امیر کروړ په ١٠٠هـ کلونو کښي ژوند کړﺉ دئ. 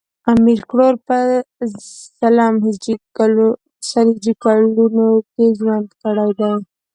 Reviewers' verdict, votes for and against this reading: rejected, 0, 2